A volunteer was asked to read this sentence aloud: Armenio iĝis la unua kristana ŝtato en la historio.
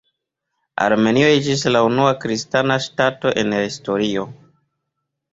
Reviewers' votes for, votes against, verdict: 2, 0, accepted